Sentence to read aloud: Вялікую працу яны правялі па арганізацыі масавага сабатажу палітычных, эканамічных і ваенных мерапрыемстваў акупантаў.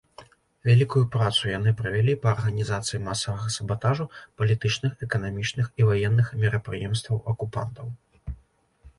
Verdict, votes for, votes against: accepted, 2, 0